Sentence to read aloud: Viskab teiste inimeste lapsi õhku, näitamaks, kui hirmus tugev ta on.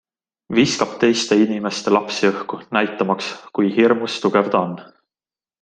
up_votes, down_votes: 2, 0